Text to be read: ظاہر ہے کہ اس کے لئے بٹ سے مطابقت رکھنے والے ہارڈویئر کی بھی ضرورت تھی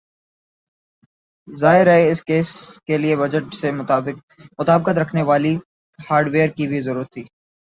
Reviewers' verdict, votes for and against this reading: rejected, 4, 9